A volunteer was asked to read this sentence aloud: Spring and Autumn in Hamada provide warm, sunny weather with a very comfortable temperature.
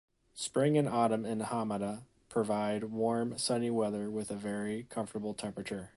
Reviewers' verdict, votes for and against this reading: accepted, 3, 0